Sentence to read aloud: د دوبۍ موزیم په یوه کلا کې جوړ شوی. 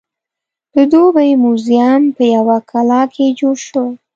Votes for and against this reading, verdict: 3, 0, accepted